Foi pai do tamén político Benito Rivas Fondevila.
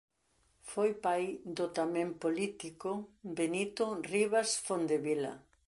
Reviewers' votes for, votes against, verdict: 2, 0, accepted